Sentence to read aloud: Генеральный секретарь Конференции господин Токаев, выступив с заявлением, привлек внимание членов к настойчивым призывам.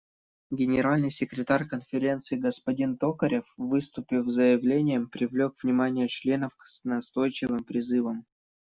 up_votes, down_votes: 0, 2